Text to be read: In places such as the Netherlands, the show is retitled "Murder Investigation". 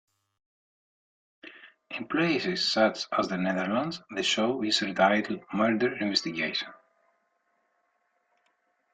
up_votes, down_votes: 2, 0